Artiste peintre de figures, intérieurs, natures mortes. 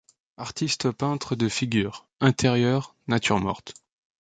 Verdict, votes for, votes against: accepted, 2, 0